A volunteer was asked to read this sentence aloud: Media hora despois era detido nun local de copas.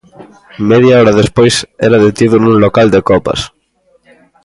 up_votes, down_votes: 2, 0